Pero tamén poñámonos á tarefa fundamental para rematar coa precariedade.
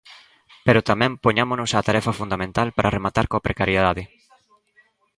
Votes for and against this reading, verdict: 2, 0, accepted